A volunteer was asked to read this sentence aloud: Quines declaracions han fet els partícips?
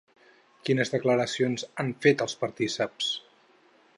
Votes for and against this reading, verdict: 0, 2, rejected